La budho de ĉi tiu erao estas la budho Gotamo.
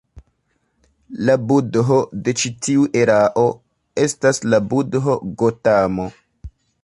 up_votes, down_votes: 0, 2